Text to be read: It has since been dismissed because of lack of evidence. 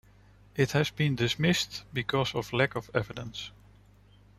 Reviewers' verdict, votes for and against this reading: rejected, 1, 2